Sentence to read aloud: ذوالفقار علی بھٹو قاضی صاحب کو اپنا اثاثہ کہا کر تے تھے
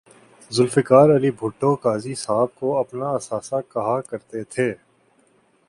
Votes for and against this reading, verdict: 2, 0, accepted